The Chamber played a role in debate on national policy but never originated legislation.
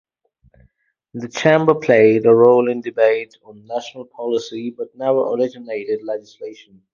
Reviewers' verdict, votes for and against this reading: accepted, 2, 0